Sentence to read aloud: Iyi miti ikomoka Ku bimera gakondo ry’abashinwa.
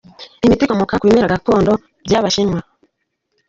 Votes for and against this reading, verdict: 1, 2, rejected